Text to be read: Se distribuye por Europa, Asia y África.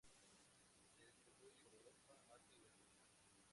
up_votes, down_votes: 0, 2